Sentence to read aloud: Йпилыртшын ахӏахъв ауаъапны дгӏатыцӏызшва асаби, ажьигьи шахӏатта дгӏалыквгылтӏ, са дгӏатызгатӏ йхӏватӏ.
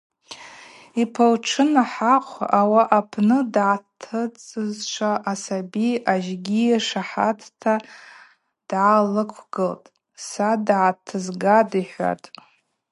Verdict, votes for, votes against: rejected, 2, 4